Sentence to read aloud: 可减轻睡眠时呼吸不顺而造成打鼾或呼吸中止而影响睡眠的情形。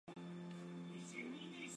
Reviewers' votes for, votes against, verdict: 1, 2, rejected